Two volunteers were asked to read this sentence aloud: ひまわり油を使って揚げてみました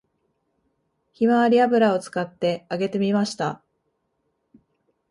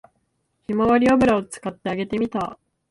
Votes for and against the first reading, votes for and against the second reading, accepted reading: 2, 0, 2, 3, first